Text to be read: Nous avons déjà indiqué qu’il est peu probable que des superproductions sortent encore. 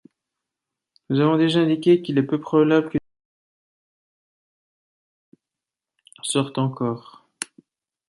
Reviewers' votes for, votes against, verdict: 0, 2, rejected